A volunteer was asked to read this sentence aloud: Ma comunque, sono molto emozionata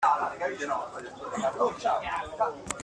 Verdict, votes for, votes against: rejected, 0, 2